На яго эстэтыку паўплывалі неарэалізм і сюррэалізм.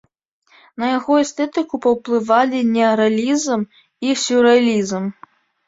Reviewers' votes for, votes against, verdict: 1, 2, rejected